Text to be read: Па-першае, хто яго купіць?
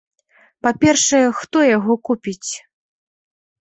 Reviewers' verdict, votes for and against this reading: accepted, 2, 0